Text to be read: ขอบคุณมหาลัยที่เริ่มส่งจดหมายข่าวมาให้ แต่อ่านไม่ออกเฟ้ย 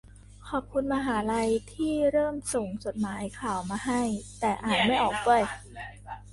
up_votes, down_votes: 1, 2